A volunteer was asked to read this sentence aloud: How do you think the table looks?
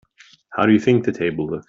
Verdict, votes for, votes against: accepted, 2, 1